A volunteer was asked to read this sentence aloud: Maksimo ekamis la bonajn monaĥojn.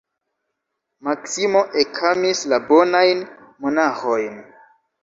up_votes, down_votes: 1, 2